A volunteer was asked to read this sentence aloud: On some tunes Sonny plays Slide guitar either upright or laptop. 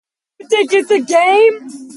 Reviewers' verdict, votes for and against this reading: rejected, 0, 2